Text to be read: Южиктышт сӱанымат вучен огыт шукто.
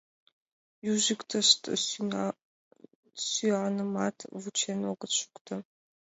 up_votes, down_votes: 0, 2